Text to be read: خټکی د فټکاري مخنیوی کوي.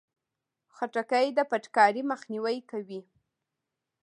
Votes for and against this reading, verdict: 2, 0, accepted